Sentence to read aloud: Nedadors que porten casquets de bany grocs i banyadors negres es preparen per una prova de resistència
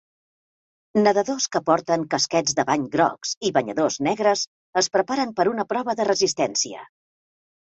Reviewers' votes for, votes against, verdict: 2, 0, accepted